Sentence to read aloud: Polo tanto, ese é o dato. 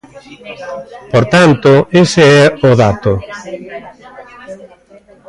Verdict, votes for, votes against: rejected, 0, 2